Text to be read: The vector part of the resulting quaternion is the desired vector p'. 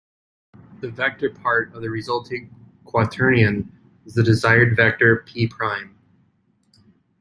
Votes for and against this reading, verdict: 0, 2, rejected